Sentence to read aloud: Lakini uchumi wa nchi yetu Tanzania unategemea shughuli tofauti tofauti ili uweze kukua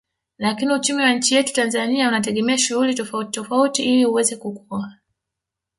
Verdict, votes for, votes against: accepted, 2, 1